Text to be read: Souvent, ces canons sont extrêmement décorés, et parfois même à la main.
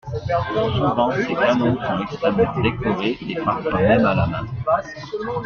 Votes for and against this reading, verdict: 0, 2, rejected